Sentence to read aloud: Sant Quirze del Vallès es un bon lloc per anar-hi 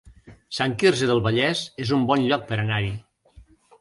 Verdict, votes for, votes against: accepted, 3, 0